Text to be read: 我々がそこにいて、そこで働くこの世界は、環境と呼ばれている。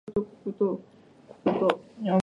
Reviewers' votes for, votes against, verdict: 0, 2, rejected